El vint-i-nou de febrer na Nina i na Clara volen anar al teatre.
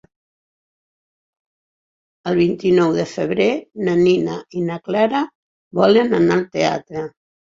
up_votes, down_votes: 4, 0